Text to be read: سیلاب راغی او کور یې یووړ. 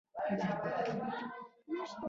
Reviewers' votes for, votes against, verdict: 1, 2, rejected